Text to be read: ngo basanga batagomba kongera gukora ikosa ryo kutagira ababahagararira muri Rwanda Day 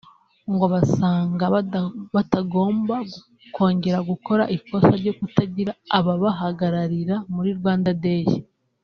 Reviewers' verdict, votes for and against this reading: rejected, 1, 2